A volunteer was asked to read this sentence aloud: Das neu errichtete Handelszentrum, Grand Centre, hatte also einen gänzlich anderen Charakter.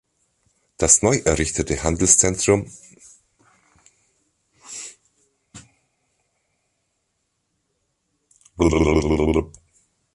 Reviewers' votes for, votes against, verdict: 0, 2, rejected